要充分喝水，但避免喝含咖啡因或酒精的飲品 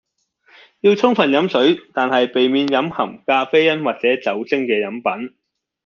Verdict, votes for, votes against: rejected, 1, 2